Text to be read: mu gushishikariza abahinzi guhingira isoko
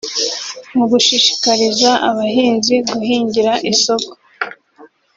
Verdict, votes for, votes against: accepted, 2, 0